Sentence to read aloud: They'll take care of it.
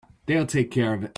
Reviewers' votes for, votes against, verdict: 2, 1, accepted